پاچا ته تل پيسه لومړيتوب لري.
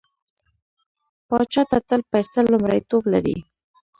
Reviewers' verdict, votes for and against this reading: rejected, 1, 2